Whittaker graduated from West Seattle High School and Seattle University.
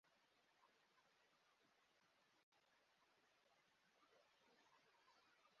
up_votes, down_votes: 0, 2